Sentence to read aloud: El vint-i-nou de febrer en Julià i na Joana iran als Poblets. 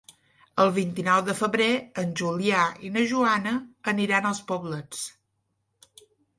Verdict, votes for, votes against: rejected, 0, 2